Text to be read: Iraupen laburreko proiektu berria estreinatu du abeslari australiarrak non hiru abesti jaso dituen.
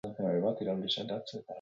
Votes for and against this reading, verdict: 0, 4, rejected